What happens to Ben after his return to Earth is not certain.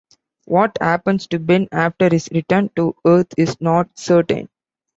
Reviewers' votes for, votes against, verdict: 2, 0, accepted